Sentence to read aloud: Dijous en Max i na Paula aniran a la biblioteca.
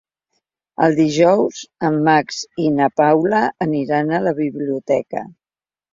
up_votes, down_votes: 0, 3